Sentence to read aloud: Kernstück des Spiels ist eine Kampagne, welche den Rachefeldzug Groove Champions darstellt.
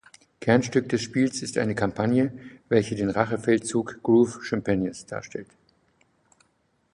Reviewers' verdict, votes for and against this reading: rejected, 0, 2